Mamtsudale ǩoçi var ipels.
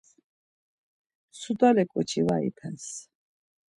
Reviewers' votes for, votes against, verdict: 1, 2, rejected